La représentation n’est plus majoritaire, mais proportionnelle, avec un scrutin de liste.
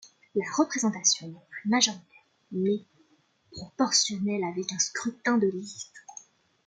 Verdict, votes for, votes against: rejected, 1, 2